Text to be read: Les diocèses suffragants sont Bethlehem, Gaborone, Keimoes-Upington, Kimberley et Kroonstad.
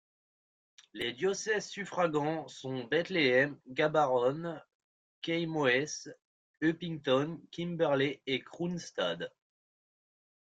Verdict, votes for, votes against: rejected, 1, 2